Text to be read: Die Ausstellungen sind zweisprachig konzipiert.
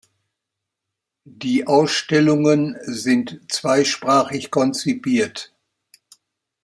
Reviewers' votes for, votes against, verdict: 2, 0, accepted